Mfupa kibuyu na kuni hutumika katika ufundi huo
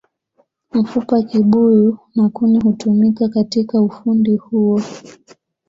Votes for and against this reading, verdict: 2, 0, accepted